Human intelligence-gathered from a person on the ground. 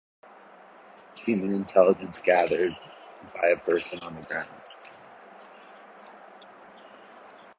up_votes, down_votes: 0, 2